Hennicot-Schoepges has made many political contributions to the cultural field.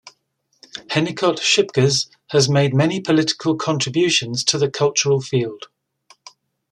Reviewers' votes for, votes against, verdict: 2, 0, accepted